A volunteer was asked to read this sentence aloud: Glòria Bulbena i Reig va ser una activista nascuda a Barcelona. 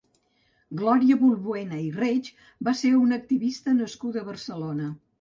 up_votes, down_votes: 0, 2